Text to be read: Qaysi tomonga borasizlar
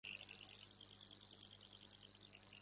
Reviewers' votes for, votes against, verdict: 0, 2, rejected